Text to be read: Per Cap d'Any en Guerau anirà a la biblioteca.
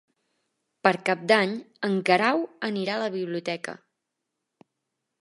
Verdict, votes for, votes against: accepted, 2, 0